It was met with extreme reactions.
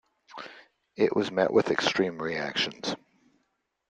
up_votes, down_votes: 2, 0